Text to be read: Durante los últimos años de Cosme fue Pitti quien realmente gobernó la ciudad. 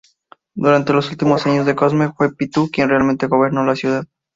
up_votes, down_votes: 0, 2